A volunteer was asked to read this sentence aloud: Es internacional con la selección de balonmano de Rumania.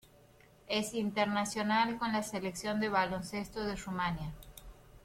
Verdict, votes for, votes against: rejected, 0, 2